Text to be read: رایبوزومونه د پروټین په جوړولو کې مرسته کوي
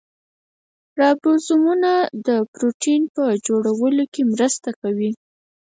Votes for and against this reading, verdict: 2, 4, rejected